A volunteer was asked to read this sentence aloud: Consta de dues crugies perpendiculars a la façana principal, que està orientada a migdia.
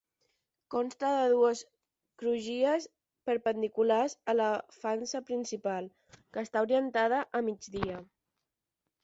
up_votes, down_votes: 0, 10